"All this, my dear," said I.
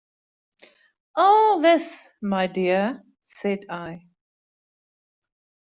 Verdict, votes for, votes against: accepted, 2, 0